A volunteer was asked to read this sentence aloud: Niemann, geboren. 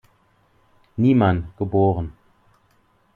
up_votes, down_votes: 2, 0